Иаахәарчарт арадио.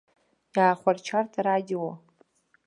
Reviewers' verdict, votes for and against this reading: accepted, 2, 0